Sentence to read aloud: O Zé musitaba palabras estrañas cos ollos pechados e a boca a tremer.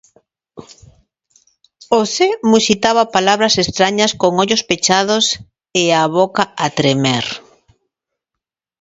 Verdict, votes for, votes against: rejected, 1, 2